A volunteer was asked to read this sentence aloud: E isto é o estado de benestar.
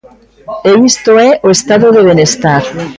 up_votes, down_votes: 2, 1